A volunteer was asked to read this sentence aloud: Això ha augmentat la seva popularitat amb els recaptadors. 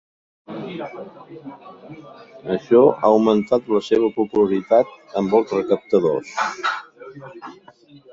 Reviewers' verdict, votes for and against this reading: rejected, 0, 2